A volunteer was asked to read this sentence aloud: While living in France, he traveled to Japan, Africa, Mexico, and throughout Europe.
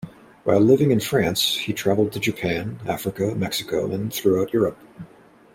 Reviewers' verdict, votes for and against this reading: accepted, 2, 0